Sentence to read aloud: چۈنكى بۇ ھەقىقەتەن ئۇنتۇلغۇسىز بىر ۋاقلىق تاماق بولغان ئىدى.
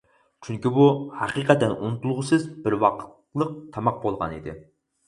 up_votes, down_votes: 2, 4